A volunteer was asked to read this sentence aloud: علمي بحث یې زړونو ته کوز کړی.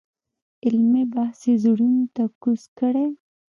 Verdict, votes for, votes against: accepted, 2, 0